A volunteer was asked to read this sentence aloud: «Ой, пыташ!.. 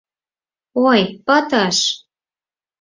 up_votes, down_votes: 2, 4